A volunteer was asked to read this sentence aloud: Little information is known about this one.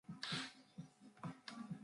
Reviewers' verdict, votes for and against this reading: rejected, 0, 2